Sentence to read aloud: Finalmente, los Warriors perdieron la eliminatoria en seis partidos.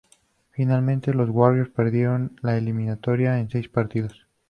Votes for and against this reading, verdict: 2, 0, accepted